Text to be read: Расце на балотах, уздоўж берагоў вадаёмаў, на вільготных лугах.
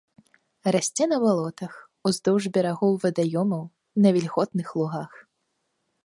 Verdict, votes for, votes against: accepted, 2, 0